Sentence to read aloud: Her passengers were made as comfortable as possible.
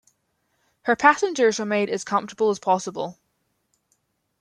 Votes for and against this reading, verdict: 2, 0, accepted